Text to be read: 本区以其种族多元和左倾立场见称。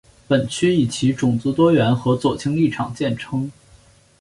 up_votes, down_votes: 6, 0